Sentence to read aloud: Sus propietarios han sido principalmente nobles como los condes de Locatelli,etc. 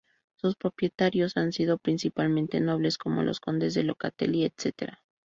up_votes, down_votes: 2, 0